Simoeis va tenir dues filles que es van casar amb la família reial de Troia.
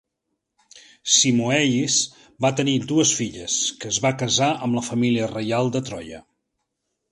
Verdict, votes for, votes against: rejected, 0, 2